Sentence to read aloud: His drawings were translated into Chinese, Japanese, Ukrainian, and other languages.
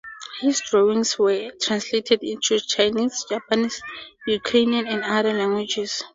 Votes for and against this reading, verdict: 2, 0, accepted